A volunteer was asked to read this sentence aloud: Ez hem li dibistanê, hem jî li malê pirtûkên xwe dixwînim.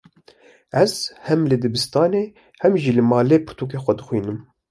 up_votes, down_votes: 2, 0